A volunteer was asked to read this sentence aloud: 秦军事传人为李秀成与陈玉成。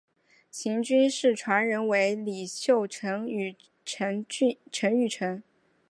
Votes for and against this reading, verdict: 1, 2, rejected